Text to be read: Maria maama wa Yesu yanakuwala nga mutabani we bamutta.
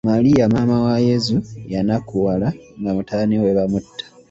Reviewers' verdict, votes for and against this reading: rejected, 0, 2